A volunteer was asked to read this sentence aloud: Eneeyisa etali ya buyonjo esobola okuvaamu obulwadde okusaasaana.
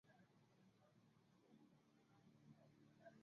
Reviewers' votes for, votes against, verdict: 0, 2, rejected